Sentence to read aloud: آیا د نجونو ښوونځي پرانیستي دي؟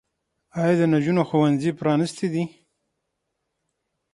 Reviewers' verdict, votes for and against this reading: accepted, 6, 0